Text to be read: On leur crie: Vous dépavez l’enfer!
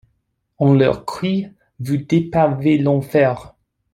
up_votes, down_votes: 2, 0